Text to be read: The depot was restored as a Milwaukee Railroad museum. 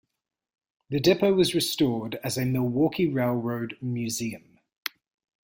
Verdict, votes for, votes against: accepted, 2, 0